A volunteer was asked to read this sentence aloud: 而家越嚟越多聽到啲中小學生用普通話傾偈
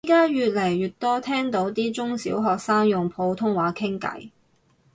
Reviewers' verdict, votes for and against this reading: rejected, 0, 4